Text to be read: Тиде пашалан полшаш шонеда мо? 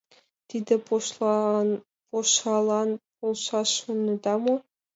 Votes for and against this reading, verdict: 0, 2, rejected